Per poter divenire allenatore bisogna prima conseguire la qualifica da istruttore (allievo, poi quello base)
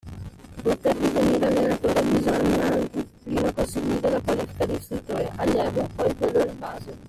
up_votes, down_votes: 0, 2